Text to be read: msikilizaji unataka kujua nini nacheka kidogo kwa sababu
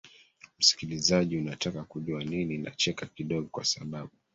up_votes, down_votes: 2, 1